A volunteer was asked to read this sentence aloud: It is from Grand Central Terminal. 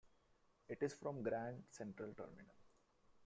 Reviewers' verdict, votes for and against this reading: accepted, 2, 1